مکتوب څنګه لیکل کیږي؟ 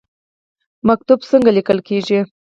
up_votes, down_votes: 2, 4